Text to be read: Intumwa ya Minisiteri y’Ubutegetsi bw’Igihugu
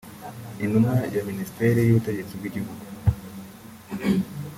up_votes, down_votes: 1, 2